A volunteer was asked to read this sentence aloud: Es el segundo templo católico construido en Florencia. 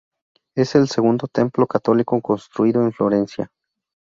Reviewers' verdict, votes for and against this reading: rejected, 2, 2